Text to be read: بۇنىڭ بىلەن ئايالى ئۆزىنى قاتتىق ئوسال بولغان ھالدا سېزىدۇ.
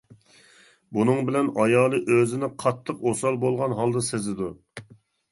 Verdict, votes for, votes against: accepted, 2, 0